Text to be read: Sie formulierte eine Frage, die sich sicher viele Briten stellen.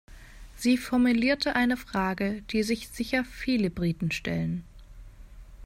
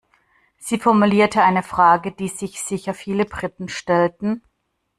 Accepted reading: first